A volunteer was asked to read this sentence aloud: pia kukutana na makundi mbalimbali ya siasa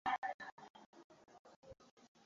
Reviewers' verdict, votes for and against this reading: rejected, 0, 2